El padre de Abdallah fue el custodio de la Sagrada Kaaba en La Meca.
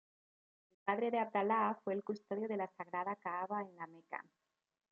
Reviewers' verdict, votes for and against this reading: rejected, 1, 2